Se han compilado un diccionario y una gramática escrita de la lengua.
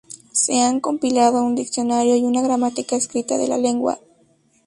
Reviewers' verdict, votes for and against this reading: accepted, 2, 0